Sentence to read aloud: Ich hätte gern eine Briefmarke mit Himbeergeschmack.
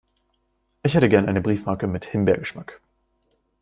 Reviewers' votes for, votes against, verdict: 2, 0, accepted